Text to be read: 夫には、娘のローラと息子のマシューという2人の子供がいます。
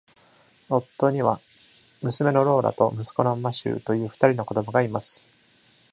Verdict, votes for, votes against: rejected, 0, 2